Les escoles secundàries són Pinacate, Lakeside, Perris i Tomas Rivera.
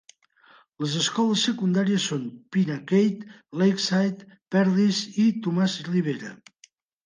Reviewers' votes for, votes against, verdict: 1, 2, rejected